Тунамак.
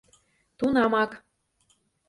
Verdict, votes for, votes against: accepted, 2, 0